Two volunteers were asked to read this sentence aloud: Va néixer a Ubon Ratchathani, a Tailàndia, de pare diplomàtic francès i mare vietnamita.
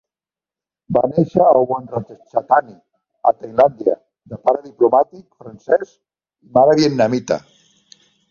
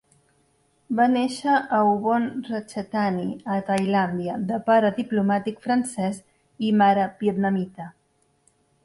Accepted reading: second